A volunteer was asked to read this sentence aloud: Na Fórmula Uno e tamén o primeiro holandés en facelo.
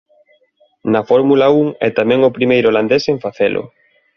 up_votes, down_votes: 1, 2